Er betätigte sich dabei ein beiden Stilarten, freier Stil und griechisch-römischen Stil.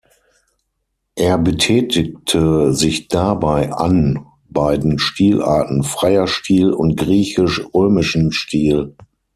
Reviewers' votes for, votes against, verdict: 0, 6, rejected